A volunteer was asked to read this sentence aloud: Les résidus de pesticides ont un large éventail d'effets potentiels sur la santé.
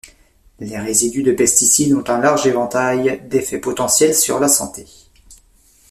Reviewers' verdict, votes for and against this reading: rejected, 1, 2